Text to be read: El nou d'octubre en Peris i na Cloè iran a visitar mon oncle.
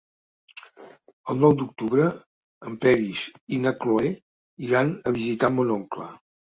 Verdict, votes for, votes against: accepted, 4, 0